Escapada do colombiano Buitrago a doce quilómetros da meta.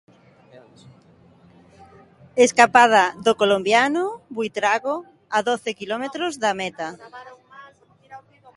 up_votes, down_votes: 1, 2